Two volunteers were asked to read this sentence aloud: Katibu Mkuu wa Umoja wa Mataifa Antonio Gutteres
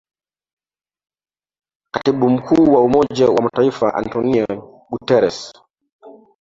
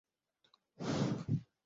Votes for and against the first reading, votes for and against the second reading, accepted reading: 2, 0, 0, 2, first